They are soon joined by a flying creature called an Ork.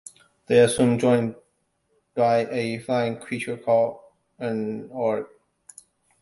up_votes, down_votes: 0, 2